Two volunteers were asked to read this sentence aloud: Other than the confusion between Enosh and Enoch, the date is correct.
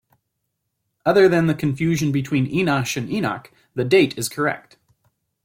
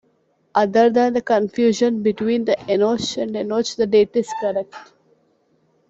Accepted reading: first